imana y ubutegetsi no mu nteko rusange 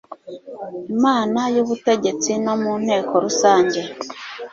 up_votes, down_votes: 2, 0